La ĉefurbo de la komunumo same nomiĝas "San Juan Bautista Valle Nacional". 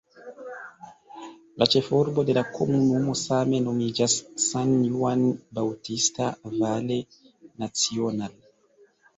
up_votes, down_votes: 0, 2